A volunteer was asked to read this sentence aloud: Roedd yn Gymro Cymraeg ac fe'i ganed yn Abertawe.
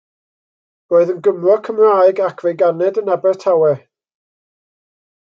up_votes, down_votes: 2, 0